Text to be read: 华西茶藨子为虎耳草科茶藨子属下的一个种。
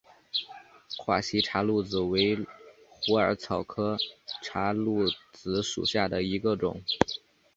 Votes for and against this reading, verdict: 2, 0, accepted